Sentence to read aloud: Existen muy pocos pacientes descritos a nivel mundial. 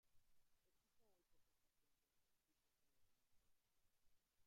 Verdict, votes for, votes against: rejected, 0, 2